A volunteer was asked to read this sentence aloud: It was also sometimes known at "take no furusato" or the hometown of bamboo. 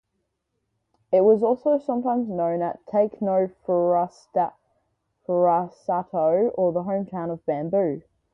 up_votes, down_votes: 0, 4